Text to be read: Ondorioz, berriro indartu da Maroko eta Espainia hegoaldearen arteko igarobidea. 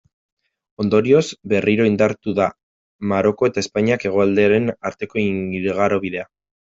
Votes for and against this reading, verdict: 0, 2, rejected